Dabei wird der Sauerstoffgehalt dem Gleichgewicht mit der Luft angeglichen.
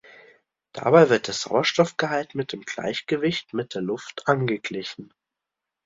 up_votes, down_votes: 0, 2